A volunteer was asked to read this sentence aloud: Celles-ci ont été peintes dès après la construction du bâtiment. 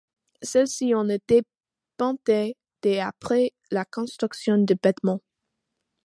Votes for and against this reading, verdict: 1, 2, rejected